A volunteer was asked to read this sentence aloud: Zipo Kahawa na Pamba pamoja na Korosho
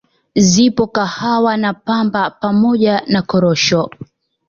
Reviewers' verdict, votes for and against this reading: accepted, 2, 0